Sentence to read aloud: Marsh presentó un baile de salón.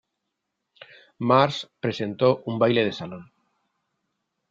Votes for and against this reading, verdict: 2, 0, accepted